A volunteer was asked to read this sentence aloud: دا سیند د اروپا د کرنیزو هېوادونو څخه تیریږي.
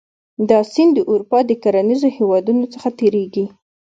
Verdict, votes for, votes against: accepted, 2, 0